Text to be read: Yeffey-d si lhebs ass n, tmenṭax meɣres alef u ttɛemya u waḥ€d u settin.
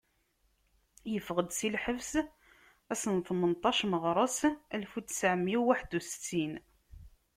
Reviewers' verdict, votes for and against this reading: accepted, 2, 1